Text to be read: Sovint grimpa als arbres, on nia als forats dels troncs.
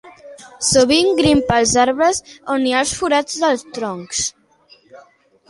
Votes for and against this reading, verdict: 0, 2, rejected